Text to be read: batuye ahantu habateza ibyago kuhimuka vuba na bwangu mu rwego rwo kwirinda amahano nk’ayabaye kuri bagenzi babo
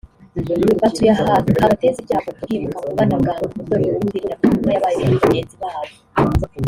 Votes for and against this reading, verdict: 0, 2, rejected